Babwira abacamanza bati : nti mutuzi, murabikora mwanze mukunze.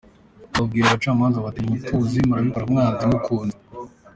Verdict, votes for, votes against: accepted, 2, 1